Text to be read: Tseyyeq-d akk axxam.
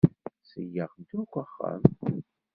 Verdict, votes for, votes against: rejected, 1, 2